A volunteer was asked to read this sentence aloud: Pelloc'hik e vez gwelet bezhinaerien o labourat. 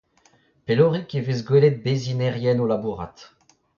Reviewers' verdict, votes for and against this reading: rejected, 0, 2